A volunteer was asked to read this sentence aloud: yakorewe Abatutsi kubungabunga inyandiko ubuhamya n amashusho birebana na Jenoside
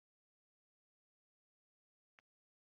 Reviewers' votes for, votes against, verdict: 1, 3, rejected